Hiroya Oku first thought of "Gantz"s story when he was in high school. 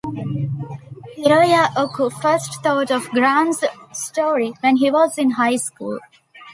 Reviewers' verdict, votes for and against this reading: rejected, 1, 2